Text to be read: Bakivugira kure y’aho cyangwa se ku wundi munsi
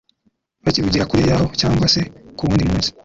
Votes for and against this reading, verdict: 2, 1, accepted